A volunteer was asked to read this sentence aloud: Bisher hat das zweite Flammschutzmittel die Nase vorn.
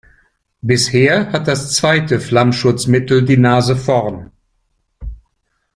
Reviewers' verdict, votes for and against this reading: accepted, 2, 0